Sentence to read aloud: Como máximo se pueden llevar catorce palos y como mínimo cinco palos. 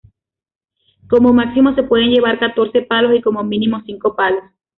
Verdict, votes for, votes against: accepted, 2, 0